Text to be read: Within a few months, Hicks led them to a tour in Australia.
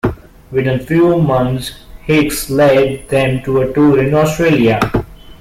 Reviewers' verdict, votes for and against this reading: rejected, 1, 2